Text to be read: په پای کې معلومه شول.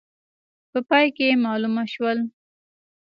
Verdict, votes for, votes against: rejected, 1, 2